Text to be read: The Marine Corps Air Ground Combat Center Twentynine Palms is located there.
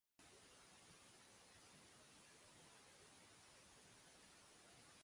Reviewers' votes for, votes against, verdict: 0, 2, rejected